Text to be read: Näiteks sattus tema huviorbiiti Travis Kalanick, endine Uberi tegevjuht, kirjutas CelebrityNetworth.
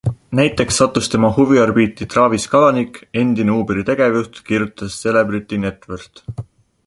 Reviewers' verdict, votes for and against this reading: accepted, 2, 0